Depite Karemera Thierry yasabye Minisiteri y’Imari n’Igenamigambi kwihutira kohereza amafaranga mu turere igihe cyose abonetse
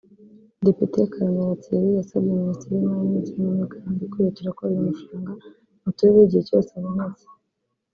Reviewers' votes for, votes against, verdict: 1, 2, rejected